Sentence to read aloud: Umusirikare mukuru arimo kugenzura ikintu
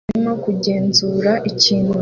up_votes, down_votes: 1, 2